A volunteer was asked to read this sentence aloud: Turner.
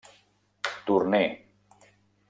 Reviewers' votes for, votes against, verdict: 0, 2, rejected